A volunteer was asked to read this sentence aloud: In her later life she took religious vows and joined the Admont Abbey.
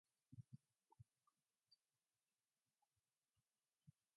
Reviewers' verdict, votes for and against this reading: rejected, 0, 2